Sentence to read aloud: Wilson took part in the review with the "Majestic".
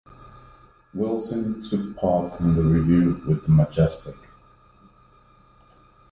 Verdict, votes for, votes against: accepted, 2, 0